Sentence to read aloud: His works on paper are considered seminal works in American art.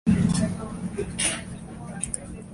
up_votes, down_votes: 0, 2